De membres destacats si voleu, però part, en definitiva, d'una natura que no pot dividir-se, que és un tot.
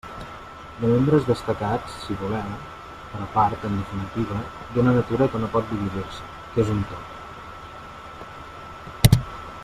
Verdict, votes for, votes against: rejected, 1, 2